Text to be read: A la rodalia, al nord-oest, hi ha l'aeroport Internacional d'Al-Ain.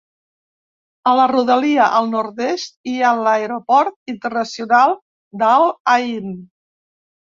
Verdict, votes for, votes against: rejected, 1, 2